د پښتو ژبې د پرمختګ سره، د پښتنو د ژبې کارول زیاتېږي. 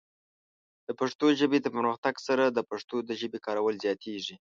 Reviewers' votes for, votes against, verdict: 2, 1, accepted